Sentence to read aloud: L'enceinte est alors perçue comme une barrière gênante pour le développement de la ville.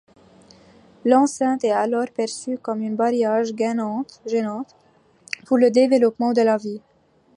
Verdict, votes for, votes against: accepted, 2, 0